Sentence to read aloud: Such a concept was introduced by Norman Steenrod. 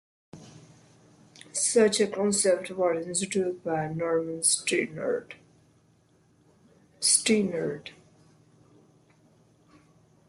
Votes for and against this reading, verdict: 0, 2, rejected